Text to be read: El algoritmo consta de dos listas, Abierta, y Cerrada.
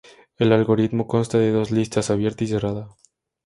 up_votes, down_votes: 2, 0